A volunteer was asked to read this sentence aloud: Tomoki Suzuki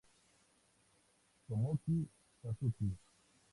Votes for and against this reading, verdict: 0, 2, rejected